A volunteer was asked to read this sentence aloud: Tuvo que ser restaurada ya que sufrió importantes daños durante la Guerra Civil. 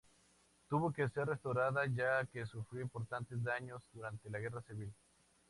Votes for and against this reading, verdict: 4, 0, accepted